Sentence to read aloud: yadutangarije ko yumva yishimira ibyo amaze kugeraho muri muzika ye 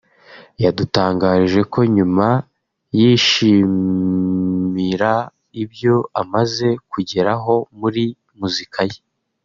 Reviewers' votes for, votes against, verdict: 2, 3, rejected